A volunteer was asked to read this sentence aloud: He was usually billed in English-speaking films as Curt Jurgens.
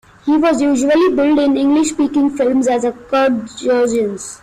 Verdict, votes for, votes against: rejected, 0, 2